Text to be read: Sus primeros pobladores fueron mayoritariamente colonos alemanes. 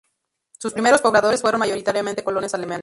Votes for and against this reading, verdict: 0, 2, rejected